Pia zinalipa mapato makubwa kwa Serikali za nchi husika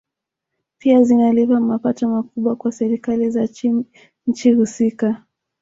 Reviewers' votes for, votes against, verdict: 0, 2, rejected